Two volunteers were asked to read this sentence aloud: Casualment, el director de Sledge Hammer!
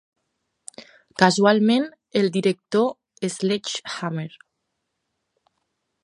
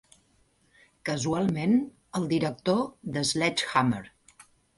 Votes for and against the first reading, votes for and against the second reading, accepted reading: 2, 3, 2, 0, second